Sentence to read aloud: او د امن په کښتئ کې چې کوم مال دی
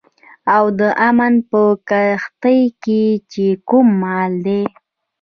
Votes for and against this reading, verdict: 0, 2, rejected